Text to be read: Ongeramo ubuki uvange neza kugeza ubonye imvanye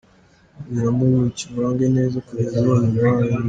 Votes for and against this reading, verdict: 1, 2, rejected